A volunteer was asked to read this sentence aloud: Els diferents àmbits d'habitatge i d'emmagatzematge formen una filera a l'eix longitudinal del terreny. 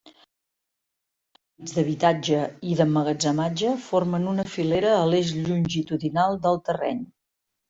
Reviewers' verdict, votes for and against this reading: rejected, 0, 2